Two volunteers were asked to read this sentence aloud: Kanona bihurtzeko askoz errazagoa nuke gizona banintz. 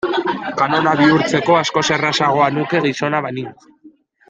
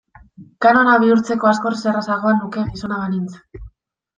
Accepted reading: second